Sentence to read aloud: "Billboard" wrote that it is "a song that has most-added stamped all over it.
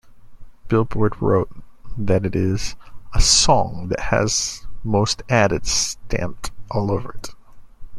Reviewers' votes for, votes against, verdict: 2, 0, accepted